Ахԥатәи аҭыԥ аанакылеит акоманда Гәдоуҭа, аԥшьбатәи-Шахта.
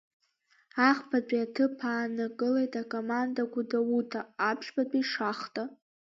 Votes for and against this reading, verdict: 2, 0, accepted